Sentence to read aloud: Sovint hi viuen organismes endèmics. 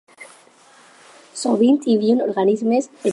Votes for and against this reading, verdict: 4, 4, rejected